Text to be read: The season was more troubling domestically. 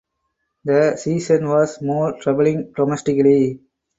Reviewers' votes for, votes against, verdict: 4, 0, accepted